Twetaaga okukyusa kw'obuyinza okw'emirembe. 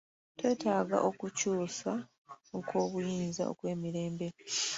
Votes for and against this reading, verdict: 2, 0, accepted